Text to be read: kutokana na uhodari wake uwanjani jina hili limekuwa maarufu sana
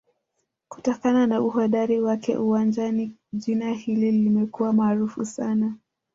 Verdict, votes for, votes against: rejected, 0, 2